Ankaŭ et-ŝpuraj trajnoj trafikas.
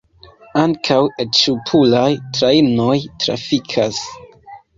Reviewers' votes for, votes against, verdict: 2, 1, accepted